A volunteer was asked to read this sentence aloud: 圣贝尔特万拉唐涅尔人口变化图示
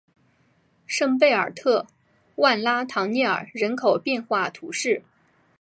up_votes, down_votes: 4, 0